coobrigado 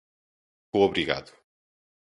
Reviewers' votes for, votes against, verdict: 2, 0, accepted